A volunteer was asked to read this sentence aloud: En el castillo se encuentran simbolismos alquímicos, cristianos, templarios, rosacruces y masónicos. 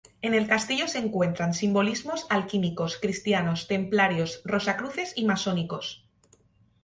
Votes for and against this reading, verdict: 0, 2, rejected